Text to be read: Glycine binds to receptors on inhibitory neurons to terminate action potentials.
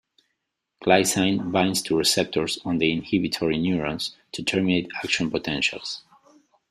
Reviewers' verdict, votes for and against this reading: accepted, 2, 1